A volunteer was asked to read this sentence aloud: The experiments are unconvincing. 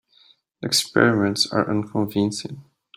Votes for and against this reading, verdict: 2, 0, accepted